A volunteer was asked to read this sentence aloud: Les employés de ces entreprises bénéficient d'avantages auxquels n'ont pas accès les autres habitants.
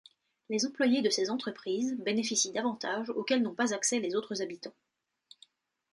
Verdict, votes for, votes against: accepted, 2, 0